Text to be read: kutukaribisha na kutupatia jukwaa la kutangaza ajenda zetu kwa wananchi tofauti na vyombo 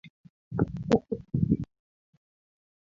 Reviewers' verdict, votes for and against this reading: rejected, 0, 2